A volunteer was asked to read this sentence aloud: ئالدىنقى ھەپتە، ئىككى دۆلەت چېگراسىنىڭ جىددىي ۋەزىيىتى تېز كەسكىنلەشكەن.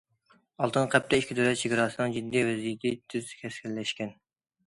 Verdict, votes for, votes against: rejected, 1, 2